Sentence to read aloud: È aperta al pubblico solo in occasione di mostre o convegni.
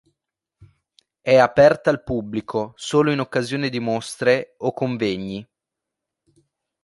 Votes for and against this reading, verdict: 2, 0, accepted